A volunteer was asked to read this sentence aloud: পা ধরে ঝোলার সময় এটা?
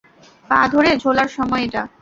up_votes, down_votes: 2, 0